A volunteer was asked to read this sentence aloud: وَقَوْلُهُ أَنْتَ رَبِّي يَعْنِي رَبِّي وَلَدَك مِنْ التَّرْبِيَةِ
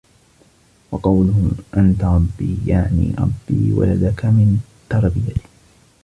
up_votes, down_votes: 0, 2